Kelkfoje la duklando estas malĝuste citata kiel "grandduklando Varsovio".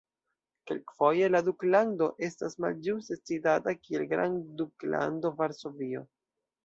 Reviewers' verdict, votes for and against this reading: accepted, 2, 0